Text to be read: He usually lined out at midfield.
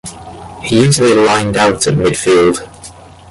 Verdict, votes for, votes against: accepted, 2, 1